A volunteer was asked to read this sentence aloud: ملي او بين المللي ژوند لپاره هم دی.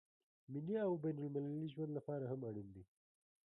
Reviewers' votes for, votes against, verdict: 1, 2, rejected